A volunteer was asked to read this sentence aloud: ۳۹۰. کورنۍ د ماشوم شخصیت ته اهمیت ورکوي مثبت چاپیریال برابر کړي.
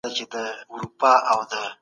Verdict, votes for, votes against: rejected, 0, 2